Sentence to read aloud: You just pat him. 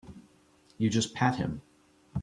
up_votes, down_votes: 3, 0